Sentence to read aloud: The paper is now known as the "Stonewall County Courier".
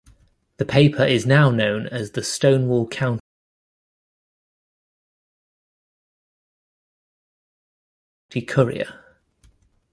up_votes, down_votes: 1, 2